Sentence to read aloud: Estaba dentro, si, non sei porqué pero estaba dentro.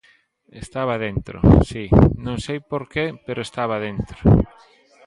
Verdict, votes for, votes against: accepted, 2, 1